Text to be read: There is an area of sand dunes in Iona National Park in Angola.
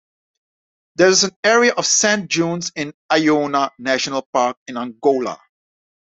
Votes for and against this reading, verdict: 2, 0, accepted